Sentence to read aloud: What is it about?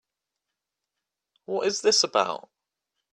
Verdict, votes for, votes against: rejected, 0, 3